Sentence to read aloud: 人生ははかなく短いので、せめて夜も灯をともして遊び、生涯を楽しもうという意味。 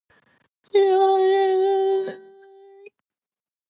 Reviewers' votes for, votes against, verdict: 1, 2, rejected